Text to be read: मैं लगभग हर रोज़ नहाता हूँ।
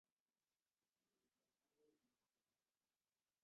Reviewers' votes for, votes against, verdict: 0, 2, rejected